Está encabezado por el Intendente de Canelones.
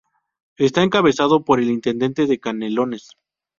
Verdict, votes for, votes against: accepted, 2, 0